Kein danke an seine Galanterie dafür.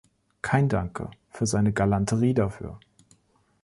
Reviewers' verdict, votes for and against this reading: rejected, 1, 2